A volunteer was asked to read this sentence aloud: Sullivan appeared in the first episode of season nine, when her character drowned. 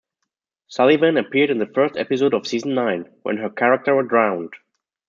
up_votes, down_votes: 2, 1